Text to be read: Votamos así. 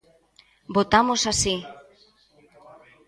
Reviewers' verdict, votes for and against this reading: rejected, 1, 2